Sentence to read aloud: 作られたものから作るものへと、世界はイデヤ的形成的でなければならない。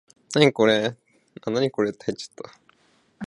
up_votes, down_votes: 0, 2